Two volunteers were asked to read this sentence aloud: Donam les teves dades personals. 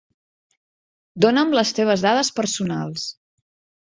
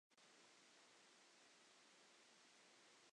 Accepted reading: first